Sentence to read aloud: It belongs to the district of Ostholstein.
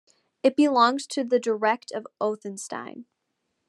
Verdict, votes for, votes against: rejected, 0, 2